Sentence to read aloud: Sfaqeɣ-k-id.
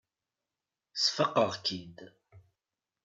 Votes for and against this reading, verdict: 2, 0, accepted